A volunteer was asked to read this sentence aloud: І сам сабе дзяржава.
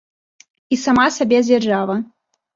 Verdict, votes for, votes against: rejected, 0, 2